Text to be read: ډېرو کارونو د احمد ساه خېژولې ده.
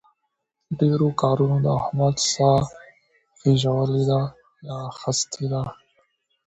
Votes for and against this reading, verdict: 0, 2, rejected